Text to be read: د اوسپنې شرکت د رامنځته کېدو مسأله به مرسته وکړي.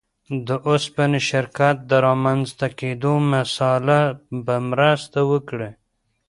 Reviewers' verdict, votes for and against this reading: rejected, 0, 2